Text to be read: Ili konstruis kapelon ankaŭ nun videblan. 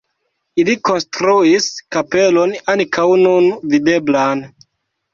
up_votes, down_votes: 2, 0